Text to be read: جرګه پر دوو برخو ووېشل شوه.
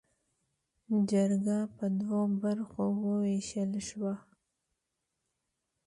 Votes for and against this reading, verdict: 2, 0, accepted